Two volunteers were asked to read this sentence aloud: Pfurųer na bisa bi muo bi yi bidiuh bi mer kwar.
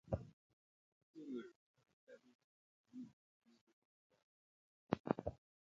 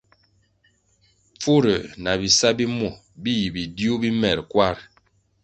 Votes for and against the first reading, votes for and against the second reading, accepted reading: 0, 2, 2, 0, second